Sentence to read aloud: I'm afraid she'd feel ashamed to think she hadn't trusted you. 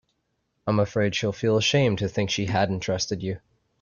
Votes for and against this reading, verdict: 1, 2, rejected